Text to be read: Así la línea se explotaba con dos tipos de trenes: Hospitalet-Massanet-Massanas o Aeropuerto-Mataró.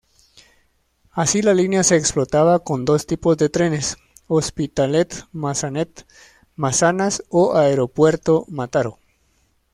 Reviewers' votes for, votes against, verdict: 1, 2, rejected